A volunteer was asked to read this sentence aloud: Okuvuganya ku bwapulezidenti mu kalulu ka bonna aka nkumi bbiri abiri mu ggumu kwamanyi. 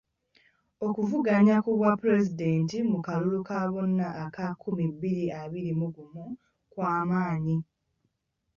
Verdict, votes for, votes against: accepted, 2, 0